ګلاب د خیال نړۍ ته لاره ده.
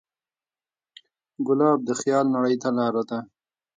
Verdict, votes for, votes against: rejected, 1, 2